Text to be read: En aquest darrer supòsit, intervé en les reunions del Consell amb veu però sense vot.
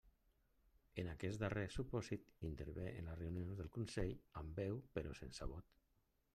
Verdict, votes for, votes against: accepted, 2, 1